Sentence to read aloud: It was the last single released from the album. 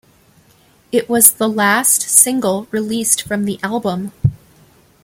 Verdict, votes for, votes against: accepted, 2, 0